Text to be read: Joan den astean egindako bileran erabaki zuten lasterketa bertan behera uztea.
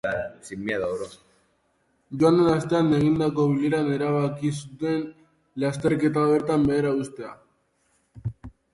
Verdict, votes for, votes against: rejected, 1, 2